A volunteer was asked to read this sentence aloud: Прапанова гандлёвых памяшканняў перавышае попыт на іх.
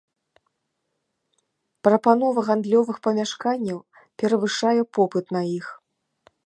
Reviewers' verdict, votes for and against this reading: accepted, 2, 0